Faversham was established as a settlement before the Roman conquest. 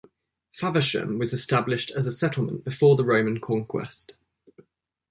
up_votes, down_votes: 2, 0